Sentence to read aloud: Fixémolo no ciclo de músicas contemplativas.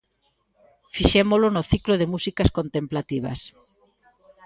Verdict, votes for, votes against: accepted, 2, 0